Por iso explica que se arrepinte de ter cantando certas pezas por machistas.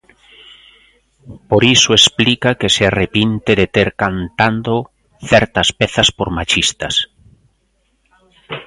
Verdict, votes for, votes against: accepted, 2, 0